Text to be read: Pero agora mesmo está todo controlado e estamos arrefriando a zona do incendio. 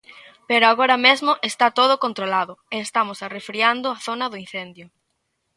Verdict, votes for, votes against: accepted, 2, 0